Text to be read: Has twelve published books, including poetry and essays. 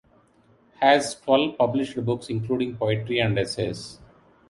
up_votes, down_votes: 1, 2